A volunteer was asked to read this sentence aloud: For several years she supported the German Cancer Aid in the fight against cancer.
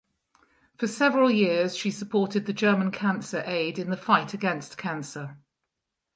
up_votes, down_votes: 4, 0